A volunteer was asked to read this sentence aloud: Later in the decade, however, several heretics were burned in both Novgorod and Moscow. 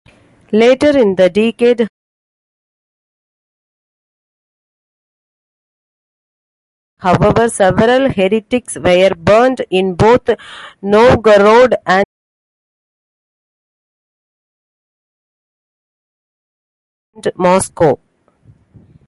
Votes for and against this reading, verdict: 0, 2, rejected